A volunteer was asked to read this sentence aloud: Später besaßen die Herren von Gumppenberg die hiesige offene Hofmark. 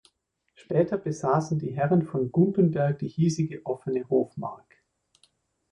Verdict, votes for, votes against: accepted, 2, 1